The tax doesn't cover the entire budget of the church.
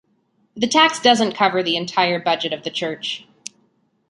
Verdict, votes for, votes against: accepted, 2, 0